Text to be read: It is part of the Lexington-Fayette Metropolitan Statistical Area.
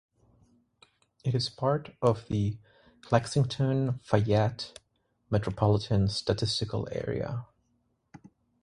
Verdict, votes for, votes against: rejected, 3, 3